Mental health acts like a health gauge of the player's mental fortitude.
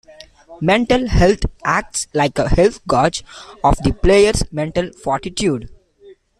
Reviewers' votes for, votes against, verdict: 0, 2, rejected